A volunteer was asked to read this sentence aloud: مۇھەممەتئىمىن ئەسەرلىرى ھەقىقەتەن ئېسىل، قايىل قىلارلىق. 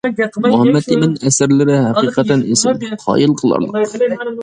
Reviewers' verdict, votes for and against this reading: rejected, 1, 2